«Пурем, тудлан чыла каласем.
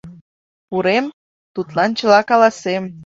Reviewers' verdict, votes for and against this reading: accepted, 2, 0